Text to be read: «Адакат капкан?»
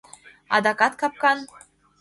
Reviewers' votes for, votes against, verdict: 2, 0, accepted